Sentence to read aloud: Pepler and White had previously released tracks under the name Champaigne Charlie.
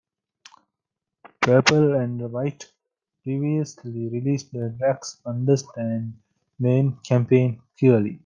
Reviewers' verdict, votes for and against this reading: rejected, 1, 2